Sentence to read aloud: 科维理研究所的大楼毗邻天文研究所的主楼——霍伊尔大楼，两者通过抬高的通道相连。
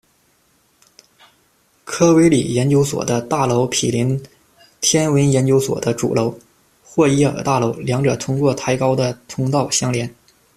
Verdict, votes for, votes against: accepted, 2, 1